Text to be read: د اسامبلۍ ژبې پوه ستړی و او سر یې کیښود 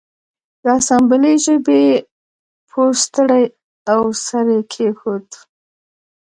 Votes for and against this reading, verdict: 1, 2, rejected